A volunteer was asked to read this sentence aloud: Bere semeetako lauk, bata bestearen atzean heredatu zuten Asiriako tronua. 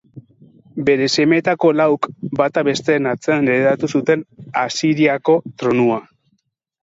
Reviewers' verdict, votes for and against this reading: accepted, 6, 4